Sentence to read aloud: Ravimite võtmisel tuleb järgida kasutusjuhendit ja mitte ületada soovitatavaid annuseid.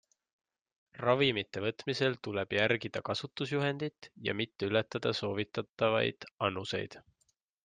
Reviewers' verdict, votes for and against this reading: accepted, 2, 0